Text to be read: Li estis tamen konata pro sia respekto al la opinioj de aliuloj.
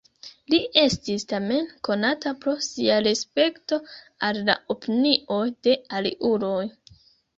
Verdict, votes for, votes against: accepted, 2, 0